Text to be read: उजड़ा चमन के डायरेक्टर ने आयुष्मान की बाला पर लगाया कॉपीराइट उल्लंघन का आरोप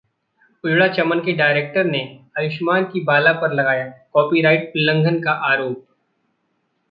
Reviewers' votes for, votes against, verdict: 1, 2, rejected